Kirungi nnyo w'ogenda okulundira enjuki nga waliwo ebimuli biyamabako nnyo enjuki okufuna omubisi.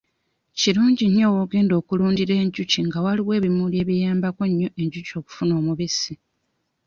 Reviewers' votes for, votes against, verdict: 1, 2, rejected